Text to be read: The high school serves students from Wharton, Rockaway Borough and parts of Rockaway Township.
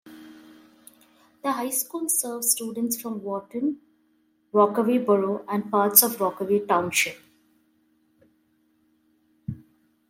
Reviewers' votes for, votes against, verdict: 2, 0, accepted